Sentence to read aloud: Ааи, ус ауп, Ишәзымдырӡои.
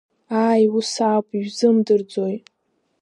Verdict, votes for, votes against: accepted, 2, 0